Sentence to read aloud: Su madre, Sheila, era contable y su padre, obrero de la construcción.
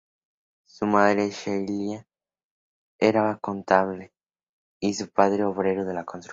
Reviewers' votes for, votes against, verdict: 2, 0, accepted